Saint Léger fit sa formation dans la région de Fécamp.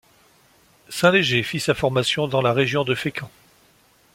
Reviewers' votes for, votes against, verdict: 2, 0, accepted